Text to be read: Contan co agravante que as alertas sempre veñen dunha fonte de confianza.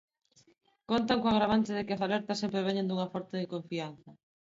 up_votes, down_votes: 1, 2